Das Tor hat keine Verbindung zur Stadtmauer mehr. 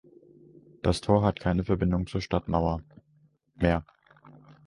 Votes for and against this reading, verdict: 1, 2, rejected